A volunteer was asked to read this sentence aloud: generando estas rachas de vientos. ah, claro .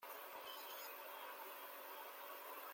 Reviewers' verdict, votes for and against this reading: rejected, 0, 2